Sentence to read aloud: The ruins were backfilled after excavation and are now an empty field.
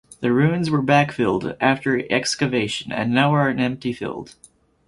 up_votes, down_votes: 0, 4